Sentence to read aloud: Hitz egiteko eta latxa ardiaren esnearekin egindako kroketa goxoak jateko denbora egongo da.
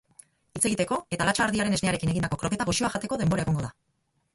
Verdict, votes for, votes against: rejected, 0, 2